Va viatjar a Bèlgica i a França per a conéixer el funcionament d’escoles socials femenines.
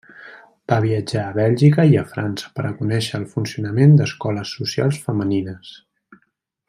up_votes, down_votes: 2, 0